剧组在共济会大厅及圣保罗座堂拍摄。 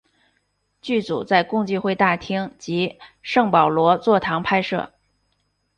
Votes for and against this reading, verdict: 3, 0, accepted